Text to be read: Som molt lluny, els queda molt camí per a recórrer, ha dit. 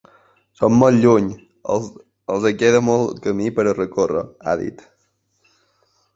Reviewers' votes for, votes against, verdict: 1, 2, rejected